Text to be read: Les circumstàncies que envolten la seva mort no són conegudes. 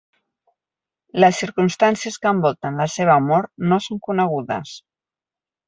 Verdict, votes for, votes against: accepted, 2, 0